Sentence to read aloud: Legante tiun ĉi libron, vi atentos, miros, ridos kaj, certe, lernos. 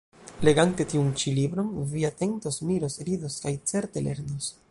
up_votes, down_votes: 1, 2